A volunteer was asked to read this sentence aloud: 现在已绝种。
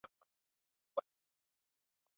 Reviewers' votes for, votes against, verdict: 0, 2, rejected